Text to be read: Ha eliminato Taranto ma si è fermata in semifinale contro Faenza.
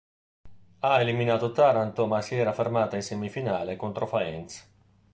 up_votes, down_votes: 0, 2